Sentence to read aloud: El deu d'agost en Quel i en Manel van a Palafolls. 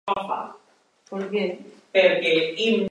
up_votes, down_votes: 0, 2